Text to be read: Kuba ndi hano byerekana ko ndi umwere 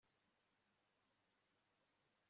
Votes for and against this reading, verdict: 1, 2, rejected